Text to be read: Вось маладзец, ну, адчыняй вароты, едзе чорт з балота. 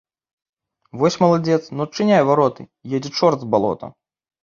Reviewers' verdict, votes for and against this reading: accepted, 2, 0